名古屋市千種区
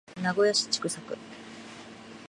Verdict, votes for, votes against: accepted, 2, 1